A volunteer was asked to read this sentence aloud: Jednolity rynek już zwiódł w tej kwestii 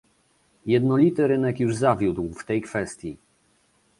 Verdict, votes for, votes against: rejected, 1, 2